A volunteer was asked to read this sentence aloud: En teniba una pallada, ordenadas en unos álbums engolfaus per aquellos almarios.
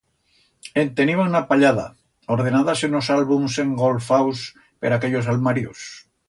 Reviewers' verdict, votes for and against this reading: rejected, 1, 2